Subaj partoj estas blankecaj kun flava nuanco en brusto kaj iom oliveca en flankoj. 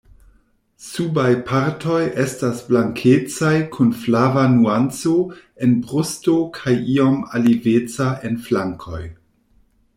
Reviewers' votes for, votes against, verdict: 0, 2, rejected